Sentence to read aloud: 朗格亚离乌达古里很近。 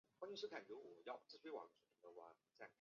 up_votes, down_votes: 0, 3